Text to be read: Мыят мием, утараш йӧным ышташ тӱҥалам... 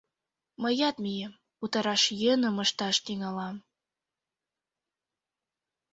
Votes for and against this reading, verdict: 2, 0, accepted